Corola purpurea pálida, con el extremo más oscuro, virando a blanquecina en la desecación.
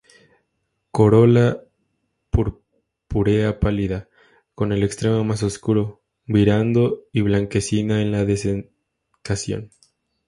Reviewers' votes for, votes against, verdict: 0, 2, rejected